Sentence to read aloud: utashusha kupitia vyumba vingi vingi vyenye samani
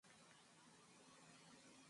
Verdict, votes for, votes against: rejected, 0, 18